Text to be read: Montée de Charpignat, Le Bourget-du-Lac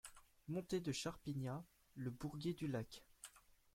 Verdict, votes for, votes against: rejected, 0, 2